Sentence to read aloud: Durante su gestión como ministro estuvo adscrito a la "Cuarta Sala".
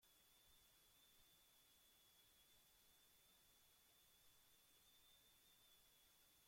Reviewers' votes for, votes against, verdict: 0, 2, rejected